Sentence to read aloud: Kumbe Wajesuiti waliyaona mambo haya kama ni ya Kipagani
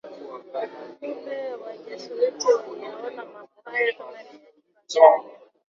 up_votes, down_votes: 0, 2